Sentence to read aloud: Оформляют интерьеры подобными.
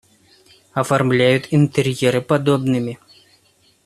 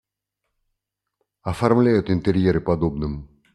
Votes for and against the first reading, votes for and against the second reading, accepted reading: 2, 0, 1, 2, first